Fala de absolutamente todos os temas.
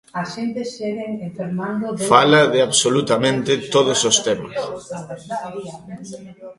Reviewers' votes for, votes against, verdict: 0, 2, rejected